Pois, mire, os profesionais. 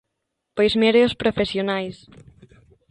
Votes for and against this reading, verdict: 2, 1, accepted